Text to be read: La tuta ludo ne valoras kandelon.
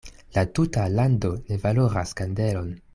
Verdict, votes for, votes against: rejected, 0, 2